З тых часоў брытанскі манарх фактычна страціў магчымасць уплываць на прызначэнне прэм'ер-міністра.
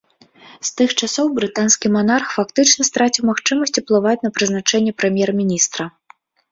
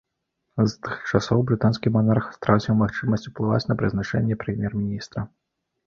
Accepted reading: first